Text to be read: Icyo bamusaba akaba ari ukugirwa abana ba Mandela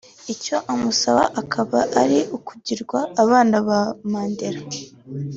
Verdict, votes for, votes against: accepted, 2, 0